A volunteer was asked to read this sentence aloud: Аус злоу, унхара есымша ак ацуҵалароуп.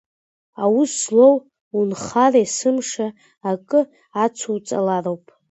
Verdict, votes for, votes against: rejected, 1, 2